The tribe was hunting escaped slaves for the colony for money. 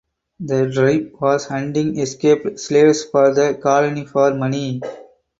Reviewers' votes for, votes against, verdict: 2, 4, rejected